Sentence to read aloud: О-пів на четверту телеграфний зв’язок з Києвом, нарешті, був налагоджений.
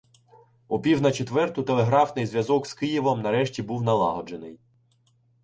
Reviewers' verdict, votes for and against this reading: accepted, 2, 0